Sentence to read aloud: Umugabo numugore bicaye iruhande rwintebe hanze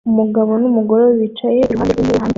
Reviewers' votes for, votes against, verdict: 1, 2, rejected